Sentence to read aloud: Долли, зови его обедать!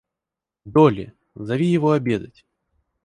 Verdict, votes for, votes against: accepted, 4, 0